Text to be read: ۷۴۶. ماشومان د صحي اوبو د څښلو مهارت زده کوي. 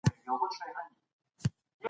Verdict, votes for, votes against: rejected, 0, 2